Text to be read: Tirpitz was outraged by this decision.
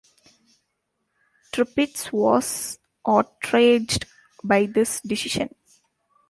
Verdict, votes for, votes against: rejected, 0, 2